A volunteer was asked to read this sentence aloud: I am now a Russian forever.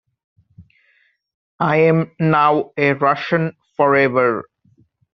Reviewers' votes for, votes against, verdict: 2, 0, accepted